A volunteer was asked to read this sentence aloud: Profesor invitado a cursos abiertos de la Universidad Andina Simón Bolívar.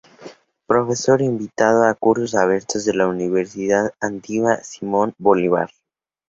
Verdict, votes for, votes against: accepted, 4, 0